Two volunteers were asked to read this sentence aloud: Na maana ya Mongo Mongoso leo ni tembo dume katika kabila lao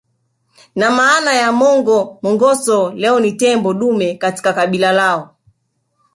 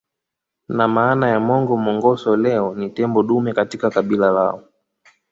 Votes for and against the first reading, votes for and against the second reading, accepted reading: 0, 2, 2, 0, second